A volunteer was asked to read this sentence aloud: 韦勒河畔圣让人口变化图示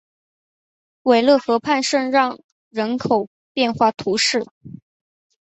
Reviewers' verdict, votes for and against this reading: accepted, 4, 0